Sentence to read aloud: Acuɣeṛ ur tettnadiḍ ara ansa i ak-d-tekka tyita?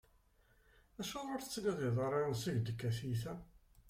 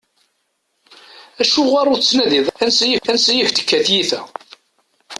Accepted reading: first